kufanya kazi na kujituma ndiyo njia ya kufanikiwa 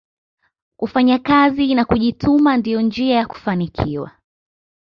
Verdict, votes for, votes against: accepted, 2, 0